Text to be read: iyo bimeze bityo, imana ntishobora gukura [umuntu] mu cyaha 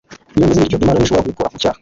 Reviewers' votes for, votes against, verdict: 1, 2, rejected